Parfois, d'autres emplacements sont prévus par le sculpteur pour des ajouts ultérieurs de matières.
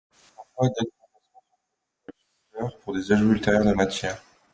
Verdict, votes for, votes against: rejected, 0, 2